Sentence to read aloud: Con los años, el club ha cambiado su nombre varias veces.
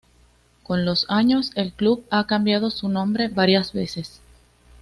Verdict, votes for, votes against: accepted, 2, 0